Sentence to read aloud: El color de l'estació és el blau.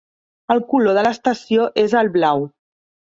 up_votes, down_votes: 0, 2